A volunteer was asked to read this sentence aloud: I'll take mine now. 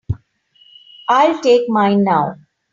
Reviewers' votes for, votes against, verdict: 2, 1, accepted